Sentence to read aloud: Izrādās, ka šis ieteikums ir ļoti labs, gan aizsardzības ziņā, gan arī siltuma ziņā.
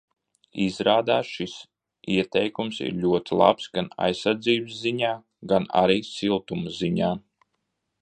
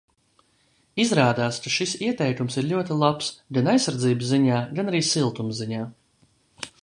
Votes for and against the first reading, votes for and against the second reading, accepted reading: 0, 2, 2, 0, second